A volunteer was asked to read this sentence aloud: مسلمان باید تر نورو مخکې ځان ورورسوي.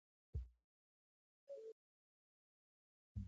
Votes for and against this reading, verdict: 0, 2, rejected